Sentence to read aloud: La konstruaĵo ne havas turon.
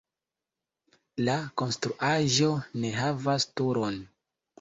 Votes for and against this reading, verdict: 2, 0, accepted